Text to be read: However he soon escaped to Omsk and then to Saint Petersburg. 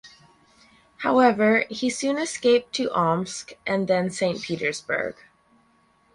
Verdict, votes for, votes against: accepted, 4, 0